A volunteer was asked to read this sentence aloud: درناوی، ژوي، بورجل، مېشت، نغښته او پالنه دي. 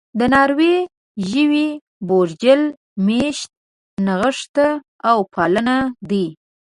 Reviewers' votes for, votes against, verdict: 0, 2, rejected